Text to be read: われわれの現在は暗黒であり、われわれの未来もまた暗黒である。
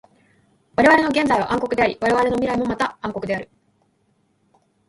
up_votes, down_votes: 1, 2